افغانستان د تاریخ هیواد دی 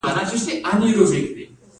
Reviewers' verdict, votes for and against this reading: rejected, 1, 2